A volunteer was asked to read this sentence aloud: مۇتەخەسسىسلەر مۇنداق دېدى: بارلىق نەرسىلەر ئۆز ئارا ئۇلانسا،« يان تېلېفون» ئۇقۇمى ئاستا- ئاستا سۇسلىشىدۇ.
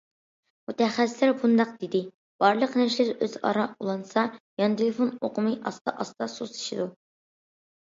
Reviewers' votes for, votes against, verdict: 0, 2, rejected